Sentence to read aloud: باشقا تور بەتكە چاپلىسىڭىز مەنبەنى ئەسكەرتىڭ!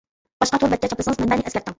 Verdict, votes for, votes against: rejected, 1, 2